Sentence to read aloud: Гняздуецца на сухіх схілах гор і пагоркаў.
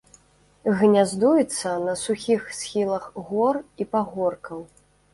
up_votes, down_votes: 2, 0